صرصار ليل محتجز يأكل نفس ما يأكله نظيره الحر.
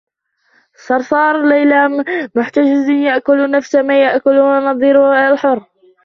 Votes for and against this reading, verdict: 1, 2, rejected